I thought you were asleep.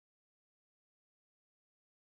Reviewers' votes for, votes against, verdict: 0, 2, rejected